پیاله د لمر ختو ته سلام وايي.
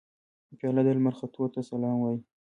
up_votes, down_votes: 0, 2